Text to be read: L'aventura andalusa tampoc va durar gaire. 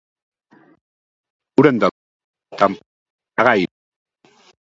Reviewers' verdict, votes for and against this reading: rejected, 1, 2